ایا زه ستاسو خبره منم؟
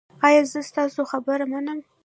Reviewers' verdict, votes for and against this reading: rejected, 0, 2